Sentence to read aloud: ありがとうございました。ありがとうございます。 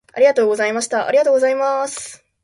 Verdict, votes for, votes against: accepted, 2, 0